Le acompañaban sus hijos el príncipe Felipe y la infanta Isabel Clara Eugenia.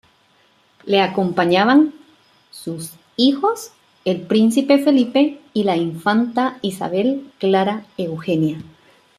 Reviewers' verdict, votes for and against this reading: accepted, 2, 0